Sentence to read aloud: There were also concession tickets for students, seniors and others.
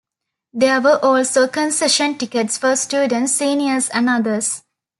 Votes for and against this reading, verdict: 2, 1, accepted